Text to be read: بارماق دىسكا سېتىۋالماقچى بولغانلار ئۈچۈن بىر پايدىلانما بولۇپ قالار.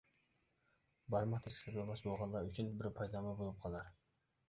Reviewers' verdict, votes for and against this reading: rejected, 0, 2